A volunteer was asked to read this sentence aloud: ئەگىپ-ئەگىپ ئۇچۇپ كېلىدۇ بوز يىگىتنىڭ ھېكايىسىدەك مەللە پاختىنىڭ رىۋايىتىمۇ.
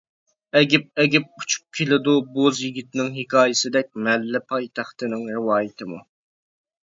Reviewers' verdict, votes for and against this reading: rejected, 0, 2